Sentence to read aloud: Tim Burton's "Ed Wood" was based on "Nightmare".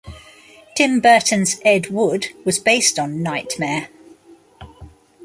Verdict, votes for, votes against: rejected, 1, 2